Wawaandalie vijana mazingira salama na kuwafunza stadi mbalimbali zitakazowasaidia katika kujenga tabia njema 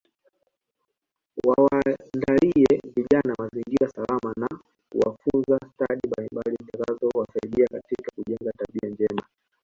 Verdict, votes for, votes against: rejected, 1, 2